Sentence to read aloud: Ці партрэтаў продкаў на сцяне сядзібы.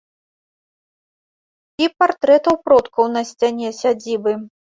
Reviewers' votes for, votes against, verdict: 0, 2, rejected